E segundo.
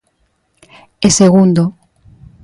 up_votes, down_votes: 2, 0